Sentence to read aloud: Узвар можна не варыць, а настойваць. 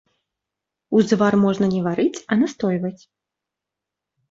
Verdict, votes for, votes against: accepted, 2, 0